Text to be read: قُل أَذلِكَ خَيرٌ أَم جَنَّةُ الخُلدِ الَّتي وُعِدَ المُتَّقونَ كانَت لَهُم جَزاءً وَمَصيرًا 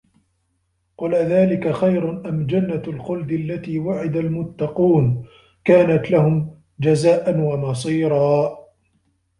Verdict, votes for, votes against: rejected, 1, 2